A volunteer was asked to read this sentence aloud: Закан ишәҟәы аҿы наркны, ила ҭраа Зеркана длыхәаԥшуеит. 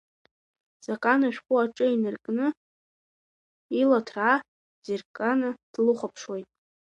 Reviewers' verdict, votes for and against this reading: rejected, 0, 2